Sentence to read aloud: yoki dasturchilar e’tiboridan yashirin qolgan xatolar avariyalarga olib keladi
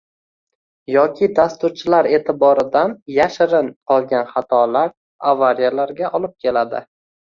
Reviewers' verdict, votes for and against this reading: rejected, 1, 2